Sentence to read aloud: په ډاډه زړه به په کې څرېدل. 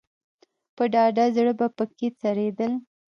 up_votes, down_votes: 1, 2